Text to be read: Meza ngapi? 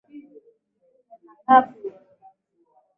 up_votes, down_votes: 3, 7